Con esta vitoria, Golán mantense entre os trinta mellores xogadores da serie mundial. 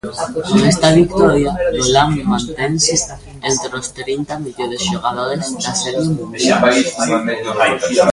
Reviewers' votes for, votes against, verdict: 0, 2, rejected